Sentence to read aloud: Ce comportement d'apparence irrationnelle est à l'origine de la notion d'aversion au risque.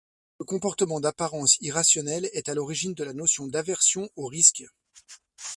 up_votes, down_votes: 1, 2